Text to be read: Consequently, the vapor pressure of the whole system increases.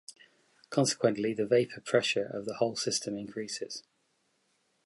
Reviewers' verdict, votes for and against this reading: accepted, 2, 0